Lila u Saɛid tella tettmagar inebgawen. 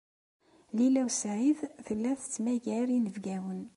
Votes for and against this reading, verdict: 2, 0, accepted